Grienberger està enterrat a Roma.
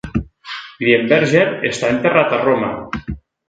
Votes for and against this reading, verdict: 2, 0, accepted